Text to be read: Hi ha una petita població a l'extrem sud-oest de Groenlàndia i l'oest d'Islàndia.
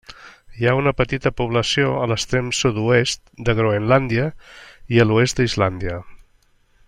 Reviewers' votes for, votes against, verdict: 2, 0, accepted